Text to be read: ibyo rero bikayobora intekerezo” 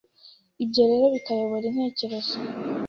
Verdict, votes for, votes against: accepted, 2, 0